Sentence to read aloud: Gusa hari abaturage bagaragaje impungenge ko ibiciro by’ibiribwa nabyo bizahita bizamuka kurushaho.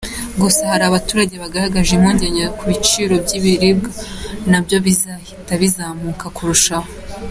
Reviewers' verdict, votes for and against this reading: accepted, 2, 0